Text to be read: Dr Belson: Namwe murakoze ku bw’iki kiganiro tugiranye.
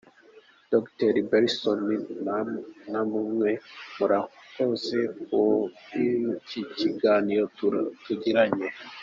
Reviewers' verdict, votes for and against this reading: rejected, 0, 2